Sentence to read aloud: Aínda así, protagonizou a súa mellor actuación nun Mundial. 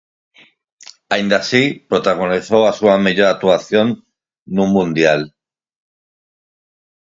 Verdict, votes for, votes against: rejected, 0, 4